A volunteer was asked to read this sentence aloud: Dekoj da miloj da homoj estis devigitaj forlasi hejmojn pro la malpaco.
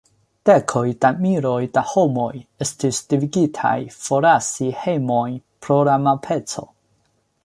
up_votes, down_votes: 2, 0